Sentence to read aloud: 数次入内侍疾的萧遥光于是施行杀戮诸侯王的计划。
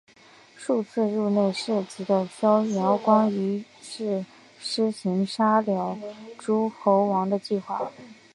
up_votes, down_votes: 2, 1